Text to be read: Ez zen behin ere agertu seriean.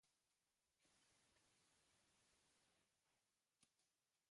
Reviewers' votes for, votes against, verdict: 0, 2, rejected